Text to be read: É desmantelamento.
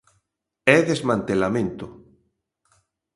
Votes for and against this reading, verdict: 2, 0, accepted